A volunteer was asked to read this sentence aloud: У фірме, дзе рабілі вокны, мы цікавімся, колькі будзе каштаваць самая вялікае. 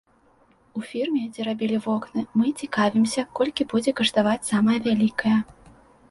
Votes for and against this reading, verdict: 2, 0, accepted